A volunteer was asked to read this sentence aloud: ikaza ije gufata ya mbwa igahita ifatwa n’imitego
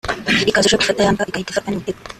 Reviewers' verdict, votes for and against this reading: rejected, 0, 2